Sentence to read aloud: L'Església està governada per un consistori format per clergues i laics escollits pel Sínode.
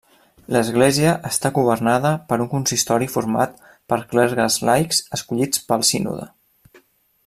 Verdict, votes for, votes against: rejected, 0, 2